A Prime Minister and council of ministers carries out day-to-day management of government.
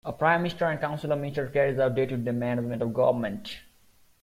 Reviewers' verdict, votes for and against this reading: accepted, 2, 1